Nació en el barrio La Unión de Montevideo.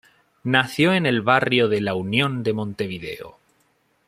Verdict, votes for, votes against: rejected, 1, 2